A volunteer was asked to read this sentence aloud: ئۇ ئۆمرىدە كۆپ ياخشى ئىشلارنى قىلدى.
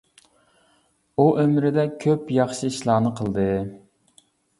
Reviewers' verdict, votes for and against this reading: accepted, 2, 0